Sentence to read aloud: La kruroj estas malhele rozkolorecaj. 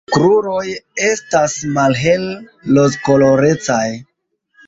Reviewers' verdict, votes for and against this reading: accepted, 2, 0